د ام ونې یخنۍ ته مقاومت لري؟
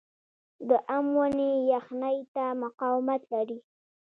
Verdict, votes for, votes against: rejected, 1, 2